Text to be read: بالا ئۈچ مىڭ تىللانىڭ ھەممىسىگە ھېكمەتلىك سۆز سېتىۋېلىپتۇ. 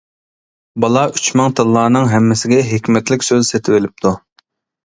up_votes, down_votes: 2, 0